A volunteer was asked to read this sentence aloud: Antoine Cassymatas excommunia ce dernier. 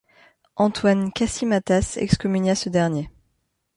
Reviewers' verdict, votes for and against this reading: accepted, 2, 0